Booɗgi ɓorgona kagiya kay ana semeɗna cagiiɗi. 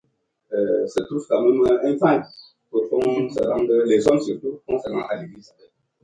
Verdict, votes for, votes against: rejected, 0, 2